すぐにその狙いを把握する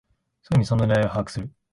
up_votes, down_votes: 0, 2